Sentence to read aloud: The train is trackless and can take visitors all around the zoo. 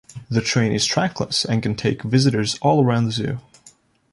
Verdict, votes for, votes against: accepted, 2, 0